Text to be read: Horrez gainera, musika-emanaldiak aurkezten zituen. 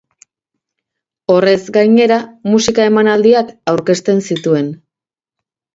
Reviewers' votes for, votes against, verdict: 2, 0, accepted